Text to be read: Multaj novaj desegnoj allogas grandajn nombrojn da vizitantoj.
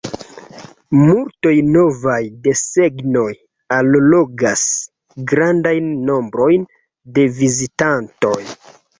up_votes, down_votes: 0, 2